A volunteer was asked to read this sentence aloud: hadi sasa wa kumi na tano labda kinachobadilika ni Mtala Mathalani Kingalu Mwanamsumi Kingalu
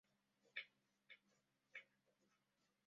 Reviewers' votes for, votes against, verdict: 0, 2, rejected